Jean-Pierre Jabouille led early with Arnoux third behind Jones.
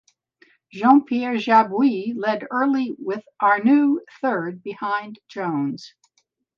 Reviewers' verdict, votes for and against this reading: accepted, 2, 0